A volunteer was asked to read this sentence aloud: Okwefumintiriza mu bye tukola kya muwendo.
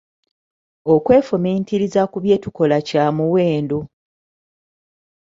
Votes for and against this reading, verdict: 0, 2, rejected